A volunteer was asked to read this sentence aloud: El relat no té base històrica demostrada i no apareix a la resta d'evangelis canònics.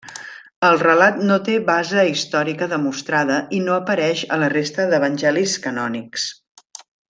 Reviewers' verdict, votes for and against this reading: accepted, 2, 1